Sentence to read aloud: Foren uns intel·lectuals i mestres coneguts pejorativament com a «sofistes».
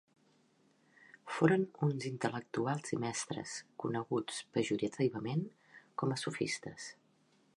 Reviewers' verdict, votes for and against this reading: rejected, 0, 2